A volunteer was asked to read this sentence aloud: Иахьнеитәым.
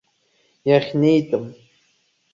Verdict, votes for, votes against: accepted, 2, 0